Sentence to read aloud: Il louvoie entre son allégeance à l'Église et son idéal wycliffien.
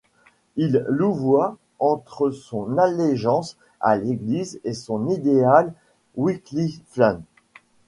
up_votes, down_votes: 1, 2